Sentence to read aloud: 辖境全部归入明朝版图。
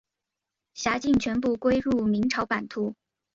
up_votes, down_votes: 2, 0